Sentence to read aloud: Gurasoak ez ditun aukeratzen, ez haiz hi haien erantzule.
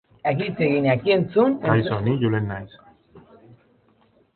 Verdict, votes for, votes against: rejected, 0, 2